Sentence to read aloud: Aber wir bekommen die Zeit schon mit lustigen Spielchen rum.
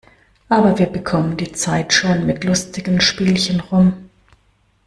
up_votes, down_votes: 2, 0